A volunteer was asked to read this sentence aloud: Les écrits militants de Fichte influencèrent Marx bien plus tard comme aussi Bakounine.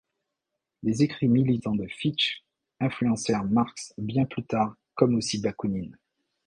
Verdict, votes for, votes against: rejected, 1, 2